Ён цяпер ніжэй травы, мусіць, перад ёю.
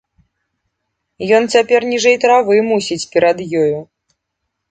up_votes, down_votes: 2, 0